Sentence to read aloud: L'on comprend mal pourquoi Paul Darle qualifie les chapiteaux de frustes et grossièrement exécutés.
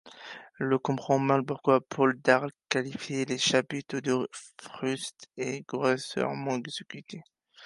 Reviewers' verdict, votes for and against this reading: accepted, 2, 1